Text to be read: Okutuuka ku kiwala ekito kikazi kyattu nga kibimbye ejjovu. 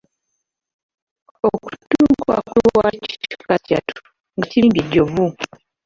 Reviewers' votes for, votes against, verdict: 0, 2, rejected